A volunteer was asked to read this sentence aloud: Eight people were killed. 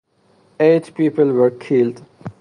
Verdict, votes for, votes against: accepted, 2, 0